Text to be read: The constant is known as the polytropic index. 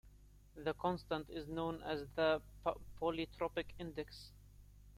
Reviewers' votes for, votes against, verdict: 0, 2, rejected